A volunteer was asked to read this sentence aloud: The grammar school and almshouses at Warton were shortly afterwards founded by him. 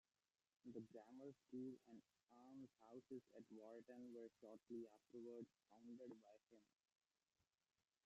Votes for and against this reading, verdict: 0, 2, rejected